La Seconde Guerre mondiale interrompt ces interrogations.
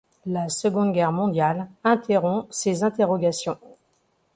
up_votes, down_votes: 2, 0